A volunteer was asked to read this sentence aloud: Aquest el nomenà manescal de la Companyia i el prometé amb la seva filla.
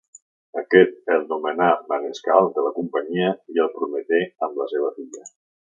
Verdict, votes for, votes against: accepted, 2, 1